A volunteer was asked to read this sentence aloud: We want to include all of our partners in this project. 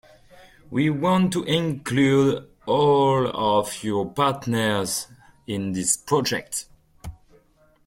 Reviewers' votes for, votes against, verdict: 0, 2, rejected